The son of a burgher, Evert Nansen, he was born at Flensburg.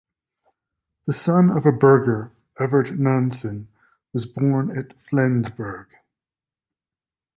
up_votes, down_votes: 1, 2